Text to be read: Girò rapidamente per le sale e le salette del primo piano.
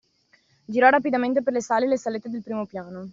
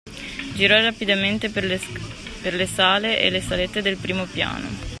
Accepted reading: first